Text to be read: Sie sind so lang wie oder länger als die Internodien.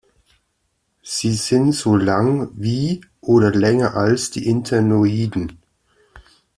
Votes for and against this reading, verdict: 1, 2, rejected